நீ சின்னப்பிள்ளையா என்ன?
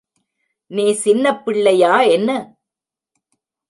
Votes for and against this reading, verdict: 2, 0, accepted